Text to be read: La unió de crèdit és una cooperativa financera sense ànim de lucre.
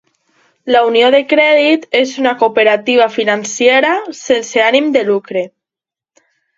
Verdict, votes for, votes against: rejected, 1, 2